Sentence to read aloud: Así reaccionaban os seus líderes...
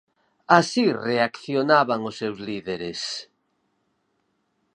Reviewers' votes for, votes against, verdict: 4, 0, accepted